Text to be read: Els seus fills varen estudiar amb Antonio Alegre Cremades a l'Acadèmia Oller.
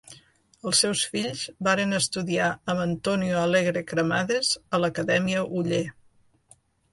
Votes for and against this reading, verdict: 0, 2, rejected